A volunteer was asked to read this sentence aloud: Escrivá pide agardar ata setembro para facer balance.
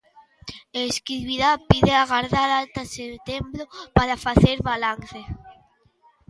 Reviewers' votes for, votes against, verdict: 0, 2, rejected